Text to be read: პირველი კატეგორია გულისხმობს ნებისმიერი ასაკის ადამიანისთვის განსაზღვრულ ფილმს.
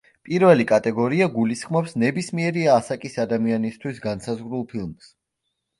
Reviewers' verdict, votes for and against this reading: rejected, 1, 2